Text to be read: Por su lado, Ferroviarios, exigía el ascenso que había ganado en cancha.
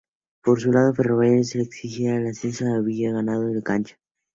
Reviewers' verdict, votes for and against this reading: rejected, 2, 2